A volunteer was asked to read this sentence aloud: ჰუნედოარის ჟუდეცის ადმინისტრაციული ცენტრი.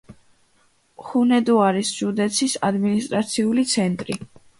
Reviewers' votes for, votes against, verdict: 2, 0, accepted